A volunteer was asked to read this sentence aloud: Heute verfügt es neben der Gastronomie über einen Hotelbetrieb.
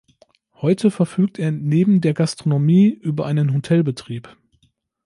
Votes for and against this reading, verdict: 0, 2, rejected